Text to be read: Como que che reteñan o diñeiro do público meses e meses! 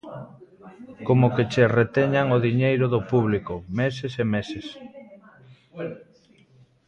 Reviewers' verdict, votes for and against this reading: rejected, 1, 2